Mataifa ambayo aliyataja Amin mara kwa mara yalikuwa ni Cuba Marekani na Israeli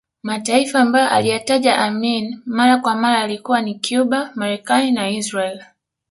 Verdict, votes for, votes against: accepted, 2, 0